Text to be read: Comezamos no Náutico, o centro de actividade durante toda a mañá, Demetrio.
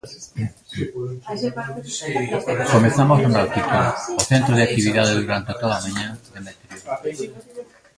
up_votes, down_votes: 0, 2